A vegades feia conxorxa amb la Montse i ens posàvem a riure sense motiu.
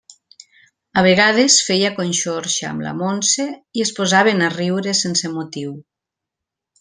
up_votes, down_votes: 1, 2